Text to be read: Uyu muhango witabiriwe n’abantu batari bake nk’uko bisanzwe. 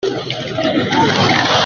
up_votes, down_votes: 0, 2